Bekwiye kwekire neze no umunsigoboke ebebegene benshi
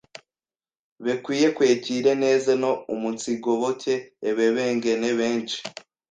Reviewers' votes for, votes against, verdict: 1, 2, rejected